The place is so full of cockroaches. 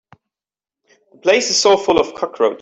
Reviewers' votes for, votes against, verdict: 0, 2, rejected